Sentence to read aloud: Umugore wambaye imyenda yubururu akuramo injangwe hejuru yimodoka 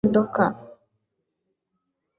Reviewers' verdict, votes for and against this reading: rejected, 0, 2